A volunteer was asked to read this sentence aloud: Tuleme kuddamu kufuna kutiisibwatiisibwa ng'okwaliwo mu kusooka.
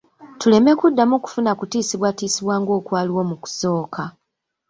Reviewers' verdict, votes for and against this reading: rejected, 1, 2